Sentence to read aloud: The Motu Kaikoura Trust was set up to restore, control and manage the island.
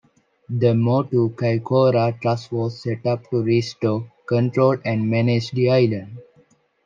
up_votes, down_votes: 2, 0